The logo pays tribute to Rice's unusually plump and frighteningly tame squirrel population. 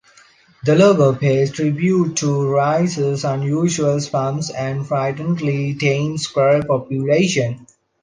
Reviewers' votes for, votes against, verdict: 1, 2, rejected